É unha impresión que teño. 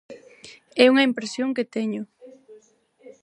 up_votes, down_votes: 2, 4